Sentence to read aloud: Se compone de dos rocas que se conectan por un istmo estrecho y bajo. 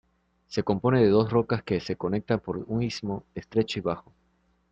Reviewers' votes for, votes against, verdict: 2, 0, accepted